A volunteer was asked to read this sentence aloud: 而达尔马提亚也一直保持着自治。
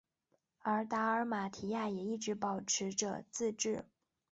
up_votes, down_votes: 3, 0